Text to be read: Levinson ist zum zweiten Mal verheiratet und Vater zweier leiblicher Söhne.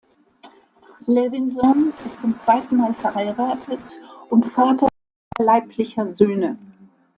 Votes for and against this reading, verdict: 0, 2, rejected